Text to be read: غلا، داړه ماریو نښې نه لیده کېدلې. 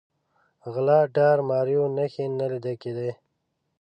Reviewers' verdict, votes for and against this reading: rejected, 1, 2